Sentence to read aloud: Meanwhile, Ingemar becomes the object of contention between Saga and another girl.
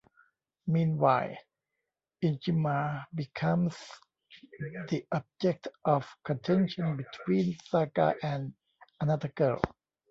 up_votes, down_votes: 1, 2